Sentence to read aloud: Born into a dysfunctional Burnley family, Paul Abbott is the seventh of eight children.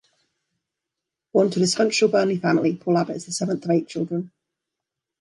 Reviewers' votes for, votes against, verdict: 2, 0, accepted